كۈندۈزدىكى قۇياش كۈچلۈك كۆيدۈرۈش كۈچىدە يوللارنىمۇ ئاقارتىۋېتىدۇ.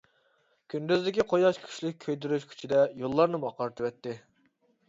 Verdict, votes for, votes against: rejected, 1, 2